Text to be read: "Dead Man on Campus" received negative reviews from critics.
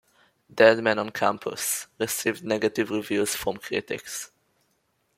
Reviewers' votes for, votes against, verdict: 2, 0, accepted